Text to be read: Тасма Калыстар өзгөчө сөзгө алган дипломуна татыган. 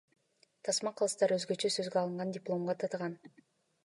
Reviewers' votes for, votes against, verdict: 0, 2, rejected